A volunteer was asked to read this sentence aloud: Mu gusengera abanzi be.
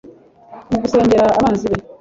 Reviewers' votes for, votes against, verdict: 1, 2, rejected